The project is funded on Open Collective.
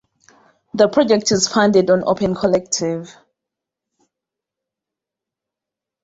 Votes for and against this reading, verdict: 2, 0, accepted